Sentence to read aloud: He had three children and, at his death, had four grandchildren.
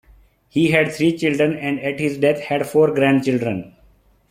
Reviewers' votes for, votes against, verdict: 2, 0, accepted